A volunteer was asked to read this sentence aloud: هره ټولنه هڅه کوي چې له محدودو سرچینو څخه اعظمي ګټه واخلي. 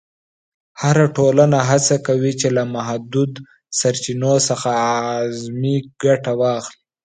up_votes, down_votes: 2, 0